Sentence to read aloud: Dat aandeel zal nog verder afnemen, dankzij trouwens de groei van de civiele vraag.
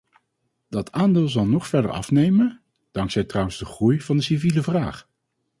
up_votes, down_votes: 4, 0